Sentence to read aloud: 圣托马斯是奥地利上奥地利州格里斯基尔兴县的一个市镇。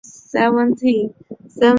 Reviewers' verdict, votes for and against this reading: rejected, 0, 3